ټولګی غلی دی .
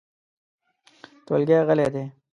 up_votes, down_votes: 2, 0